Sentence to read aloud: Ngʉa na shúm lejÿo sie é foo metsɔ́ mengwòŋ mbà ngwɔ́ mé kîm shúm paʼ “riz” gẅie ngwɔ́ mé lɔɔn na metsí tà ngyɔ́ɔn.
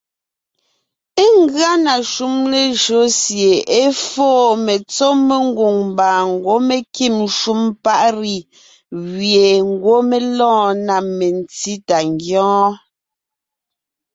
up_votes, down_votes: 2, 1